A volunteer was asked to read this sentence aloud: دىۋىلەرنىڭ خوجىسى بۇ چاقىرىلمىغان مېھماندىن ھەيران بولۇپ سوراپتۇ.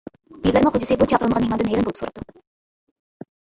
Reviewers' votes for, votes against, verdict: 0, 2, rejected